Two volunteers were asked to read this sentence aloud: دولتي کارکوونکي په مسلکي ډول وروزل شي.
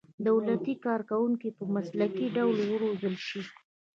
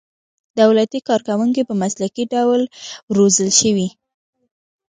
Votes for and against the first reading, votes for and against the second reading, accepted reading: 1, 2, 2, 0, second